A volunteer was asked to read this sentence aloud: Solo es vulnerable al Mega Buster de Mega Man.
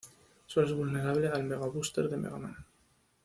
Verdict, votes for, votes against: accepted, 2, 0